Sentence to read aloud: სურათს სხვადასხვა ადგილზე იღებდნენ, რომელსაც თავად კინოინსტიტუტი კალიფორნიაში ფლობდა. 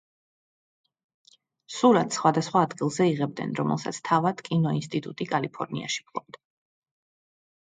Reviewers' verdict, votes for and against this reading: accepted, 2, 0